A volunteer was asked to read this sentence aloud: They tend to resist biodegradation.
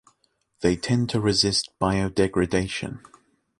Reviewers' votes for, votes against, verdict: 2, 0, accepted